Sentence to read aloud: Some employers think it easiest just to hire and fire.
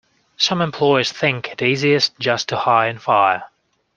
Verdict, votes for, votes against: accepted, 2, 0